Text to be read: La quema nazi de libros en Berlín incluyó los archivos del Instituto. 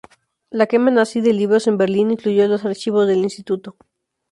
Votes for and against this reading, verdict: 2, 0, accepted